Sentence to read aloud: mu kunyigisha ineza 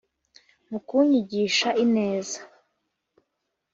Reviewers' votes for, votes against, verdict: 2, 0, accepted